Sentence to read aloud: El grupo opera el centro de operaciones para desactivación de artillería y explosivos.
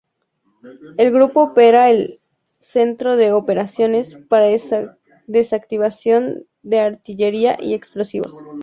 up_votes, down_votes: 0, 2